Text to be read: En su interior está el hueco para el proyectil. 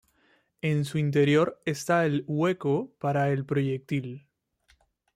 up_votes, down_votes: 2, 0